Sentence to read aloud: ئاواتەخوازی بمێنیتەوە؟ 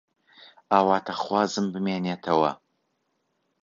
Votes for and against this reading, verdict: 0, 2, rejected